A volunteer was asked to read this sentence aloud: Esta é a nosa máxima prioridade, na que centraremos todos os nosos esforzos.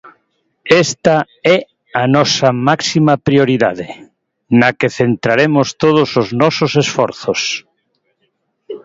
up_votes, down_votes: 2, 0